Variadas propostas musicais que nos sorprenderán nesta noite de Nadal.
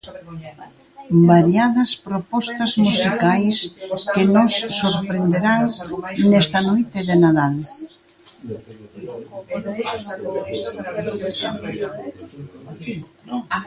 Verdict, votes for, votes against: accepted, 2, 1